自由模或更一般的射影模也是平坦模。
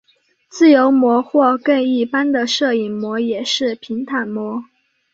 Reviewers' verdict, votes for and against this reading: accepted, 4, 0